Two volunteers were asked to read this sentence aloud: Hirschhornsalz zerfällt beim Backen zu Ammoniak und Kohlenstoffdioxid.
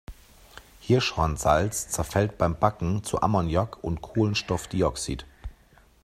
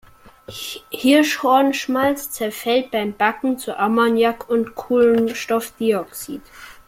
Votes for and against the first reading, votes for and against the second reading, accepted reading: 2, 0, 0, 2, first